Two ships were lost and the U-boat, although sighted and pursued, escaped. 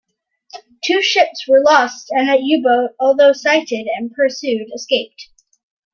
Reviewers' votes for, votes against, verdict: 0, 2, rejected